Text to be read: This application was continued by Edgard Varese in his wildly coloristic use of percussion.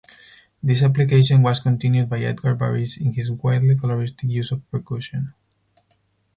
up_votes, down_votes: 4, 0